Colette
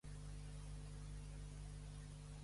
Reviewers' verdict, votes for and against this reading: rejected, 1, 2